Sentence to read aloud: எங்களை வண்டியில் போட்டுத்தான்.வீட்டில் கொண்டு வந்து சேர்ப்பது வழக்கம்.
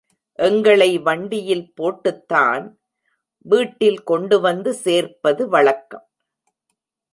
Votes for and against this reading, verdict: 1, 2, rejected